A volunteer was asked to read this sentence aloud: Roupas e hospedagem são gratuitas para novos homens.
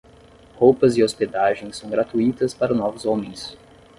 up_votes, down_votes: 10, 0